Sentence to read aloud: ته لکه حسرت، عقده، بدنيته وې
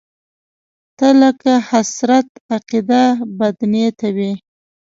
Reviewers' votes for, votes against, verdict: 1, 2, rejected